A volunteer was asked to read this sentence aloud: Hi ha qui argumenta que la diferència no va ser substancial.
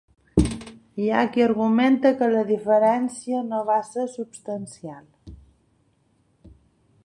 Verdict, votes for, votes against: accepted, 2, 0